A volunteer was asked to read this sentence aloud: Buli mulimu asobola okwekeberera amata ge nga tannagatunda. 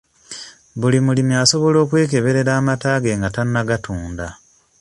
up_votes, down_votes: 0, 2